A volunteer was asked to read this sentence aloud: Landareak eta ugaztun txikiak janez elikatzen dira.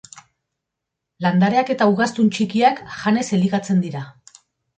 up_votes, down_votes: 2, 1